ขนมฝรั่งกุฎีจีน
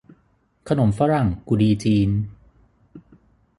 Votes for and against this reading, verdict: 6, 0, accepted